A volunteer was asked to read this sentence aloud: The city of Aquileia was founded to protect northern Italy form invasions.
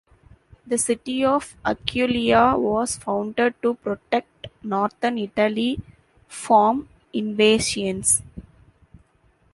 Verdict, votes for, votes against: rejected, 0, 2